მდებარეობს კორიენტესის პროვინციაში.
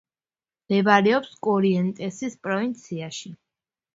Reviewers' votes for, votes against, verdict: 1, 2, rejected